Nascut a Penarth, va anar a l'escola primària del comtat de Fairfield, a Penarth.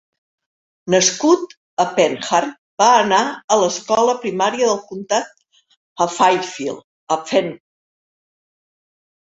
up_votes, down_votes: 0, 2